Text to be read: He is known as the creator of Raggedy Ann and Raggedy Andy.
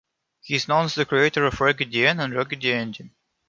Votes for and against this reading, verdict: 0, 2, rejected